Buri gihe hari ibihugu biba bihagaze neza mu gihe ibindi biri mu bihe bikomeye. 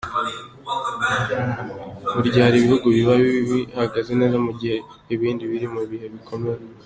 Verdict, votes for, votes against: accepted, 2, 0